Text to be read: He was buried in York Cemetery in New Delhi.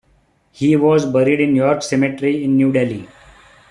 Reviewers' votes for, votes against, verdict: 0, 2, rejected